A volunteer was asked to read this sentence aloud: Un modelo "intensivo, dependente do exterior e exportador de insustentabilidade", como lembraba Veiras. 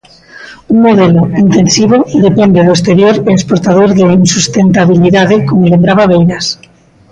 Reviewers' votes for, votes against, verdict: 0, 2, rejected